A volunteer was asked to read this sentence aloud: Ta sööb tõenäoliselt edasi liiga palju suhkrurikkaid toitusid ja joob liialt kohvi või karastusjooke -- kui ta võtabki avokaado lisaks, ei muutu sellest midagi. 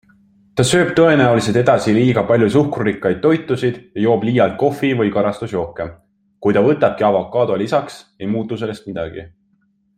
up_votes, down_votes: 3, 0